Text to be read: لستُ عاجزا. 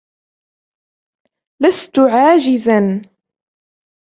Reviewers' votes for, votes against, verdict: 2, 1, accepted